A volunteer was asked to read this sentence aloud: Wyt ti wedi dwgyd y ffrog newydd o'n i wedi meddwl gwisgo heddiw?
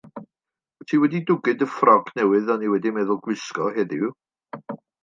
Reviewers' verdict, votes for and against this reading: accepted, 2, 0